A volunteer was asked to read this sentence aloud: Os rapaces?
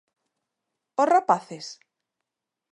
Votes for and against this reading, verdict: 2, 0, accepted